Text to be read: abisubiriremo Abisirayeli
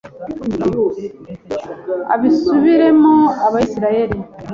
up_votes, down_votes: 1, 2